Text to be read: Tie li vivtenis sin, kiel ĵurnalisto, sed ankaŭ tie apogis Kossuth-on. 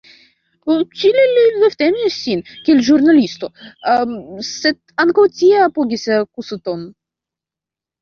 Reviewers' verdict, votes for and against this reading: rejected, 0, 2